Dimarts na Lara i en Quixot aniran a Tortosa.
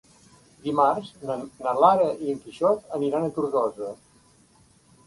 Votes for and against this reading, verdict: 1, 2, rejected